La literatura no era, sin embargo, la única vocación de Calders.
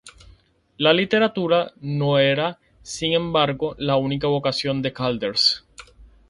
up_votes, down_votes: 4, 0